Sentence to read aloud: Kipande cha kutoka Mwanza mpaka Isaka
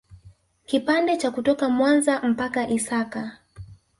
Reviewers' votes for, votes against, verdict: 2, 1, accepted